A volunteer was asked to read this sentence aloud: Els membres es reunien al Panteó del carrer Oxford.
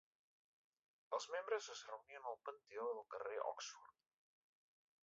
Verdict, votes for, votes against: rejected, 0, 2